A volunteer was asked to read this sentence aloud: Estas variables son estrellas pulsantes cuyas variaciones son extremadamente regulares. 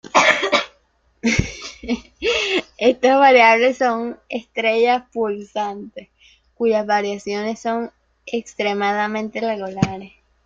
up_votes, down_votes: 2, 1